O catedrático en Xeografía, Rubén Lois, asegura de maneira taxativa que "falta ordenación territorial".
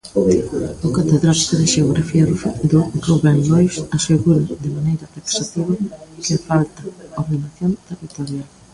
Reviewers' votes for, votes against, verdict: 0, 2, rejected